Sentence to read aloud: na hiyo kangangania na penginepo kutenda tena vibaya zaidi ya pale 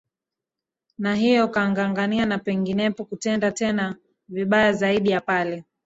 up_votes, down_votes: 1, 2